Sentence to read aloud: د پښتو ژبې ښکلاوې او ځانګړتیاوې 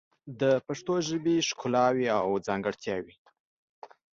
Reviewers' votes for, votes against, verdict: 4, 0, accepted